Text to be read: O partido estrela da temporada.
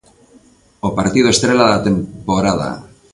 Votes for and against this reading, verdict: 2, 0, accepted